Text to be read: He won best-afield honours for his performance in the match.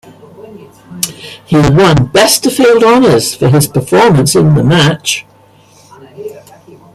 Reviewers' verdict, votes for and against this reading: rejected, 0, 2